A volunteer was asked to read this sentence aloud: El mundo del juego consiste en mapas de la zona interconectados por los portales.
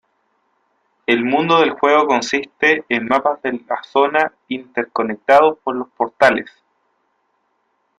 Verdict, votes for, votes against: rejected, 1, 2